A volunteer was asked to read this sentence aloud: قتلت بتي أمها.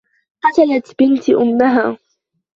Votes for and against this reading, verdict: 1, 2, rejected